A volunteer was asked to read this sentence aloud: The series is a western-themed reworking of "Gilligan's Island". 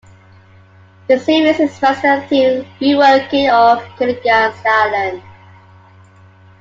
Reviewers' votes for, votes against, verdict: 1, 3, rejected